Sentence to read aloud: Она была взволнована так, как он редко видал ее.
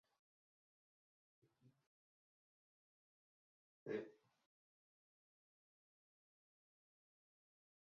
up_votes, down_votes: 0, 2